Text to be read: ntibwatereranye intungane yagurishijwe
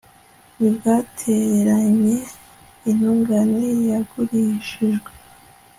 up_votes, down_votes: 1, 2